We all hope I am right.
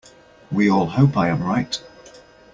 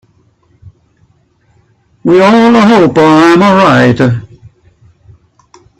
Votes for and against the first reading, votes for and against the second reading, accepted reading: 2, 1, 0, 2, first